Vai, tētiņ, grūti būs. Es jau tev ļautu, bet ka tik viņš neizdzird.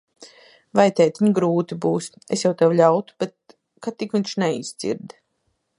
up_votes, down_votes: 2, 0